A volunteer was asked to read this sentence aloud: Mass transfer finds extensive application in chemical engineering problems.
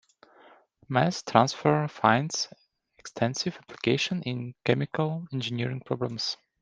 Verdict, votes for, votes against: accepted, 2, 0